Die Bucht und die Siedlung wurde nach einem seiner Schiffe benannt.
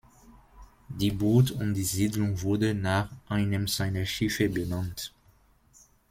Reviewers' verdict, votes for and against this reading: accepted, 2, 1